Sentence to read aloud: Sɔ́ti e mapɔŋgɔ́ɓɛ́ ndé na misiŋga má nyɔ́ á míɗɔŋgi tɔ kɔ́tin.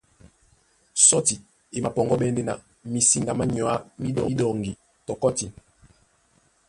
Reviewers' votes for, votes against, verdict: 0, 2, rejected